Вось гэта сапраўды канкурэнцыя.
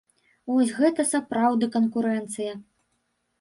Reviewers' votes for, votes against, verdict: 1, 2, rejected